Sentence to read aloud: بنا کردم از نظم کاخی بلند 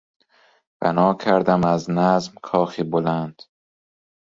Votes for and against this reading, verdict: 2, 0, accepted